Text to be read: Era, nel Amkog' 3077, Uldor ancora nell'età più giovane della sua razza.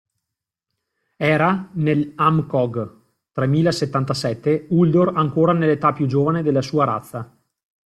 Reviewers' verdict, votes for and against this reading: rejected, 0, 2